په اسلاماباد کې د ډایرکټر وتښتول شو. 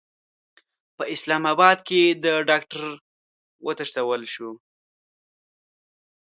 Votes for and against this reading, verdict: 0, 2, rejected